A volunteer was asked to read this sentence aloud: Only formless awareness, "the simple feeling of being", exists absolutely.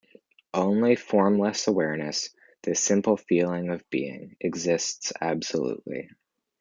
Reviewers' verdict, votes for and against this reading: accepted, 2, 0